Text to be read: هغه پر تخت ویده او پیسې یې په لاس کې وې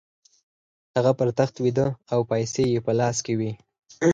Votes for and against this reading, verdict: 4, 2, accepted